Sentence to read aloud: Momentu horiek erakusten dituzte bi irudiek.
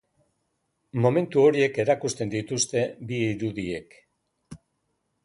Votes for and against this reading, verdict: 2, 2, rejected